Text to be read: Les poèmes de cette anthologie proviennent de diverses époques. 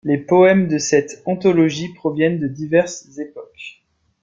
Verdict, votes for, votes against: accepted, 3, 1